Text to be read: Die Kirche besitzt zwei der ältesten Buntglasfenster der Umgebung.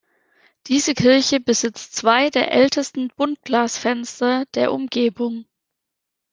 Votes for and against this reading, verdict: 1, 3, rejected